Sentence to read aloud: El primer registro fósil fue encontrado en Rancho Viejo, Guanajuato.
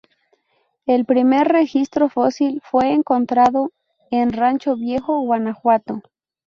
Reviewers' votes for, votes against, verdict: 2, 0, accepted